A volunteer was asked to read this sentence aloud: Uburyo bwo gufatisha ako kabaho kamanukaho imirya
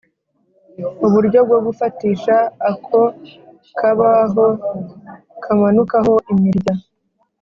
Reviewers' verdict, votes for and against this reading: accepted, 2, 0